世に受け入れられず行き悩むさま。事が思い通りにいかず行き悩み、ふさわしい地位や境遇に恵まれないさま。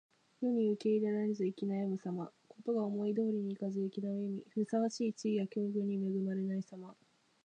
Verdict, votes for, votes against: rejected, 2, 3